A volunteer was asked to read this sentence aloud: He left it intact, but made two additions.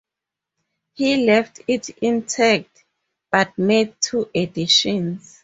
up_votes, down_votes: 4, 0